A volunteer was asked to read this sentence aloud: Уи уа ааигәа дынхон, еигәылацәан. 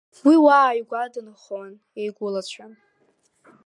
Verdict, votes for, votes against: accepted, 2, 0